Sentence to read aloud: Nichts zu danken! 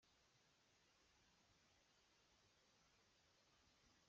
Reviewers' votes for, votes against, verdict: 0, 2, rejected